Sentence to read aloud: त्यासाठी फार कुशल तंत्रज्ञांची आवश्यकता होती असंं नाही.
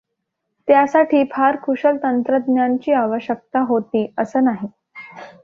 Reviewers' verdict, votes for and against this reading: accepted, 2, 0